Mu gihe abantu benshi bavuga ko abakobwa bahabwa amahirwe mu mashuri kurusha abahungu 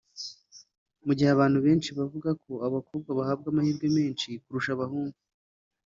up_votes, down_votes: 4, 2